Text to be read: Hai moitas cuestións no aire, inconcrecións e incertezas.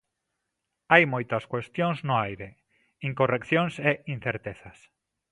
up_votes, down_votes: 0, 2